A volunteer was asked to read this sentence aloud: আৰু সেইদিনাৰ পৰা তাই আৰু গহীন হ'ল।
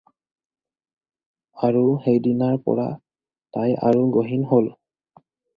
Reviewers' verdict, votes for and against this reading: accepted, 4, 0